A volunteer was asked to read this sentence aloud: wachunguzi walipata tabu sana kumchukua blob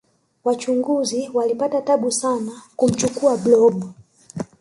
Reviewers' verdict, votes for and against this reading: rejected, 1, 2